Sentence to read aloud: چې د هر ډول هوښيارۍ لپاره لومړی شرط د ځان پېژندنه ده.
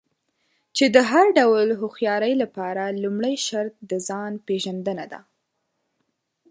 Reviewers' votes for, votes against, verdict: 2, 0, accepted